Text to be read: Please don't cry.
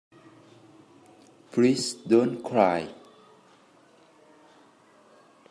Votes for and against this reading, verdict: 2, 0, accepted